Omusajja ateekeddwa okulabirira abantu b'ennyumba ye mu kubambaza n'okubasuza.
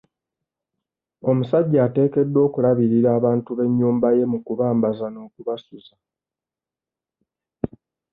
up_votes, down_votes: 2, 0